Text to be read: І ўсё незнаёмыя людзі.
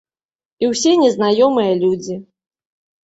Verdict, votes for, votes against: rejected, 1, 2